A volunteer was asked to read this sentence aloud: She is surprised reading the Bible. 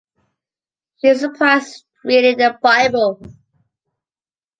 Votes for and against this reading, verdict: 2, 0, accepted